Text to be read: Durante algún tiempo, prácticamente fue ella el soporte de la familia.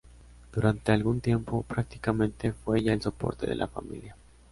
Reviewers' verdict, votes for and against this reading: accepted, 2, 0